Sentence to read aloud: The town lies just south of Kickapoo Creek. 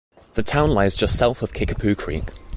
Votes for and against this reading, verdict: 2, 0, accepted